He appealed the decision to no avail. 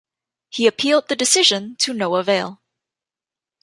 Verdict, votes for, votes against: accepted, 2, 0